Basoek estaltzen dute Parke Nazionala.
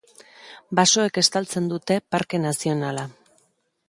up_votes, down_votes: 3, 0